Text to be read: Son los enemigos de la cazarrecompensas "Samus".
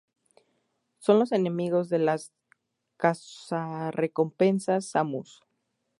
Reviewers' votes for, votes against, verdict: 0, 2, rejected